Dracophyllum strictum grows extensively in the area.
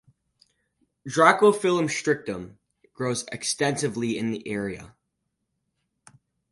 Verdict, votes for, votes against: accepted, 4, 0